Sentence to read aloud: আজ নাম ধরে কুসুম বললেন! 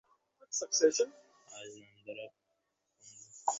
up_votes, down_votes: 0, 2